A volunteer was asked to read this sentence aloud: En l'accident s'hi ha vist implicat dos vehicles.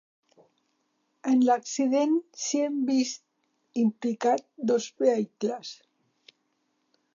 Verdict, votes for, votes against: rejected, 1, 2